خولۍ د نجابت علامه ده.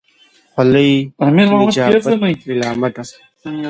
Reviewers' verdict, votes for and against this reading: rejected, 1, 2